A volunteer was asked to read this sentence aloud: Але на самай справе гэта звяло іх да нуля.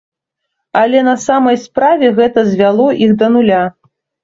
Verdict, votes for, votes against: accepted, 3, 0